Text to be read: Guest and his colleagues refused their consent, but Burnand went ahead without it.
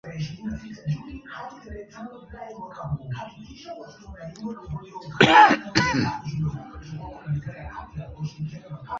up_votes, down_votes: 0, 2